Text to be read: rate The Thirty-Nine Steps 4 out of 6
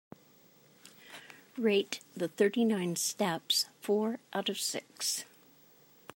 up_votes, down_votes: 0, 2